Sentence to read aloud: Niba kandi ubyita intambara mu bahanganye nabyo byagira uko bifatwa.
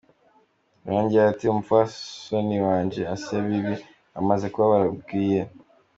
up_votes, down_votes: 0, 2